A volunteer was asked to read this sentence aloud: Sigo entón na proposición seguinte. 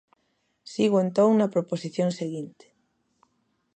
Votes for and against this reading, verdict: 2, 0, accepted